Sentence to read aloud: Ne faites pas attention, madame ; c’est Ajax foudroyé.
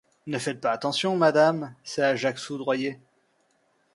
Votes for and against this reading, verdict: 2, 0, accepted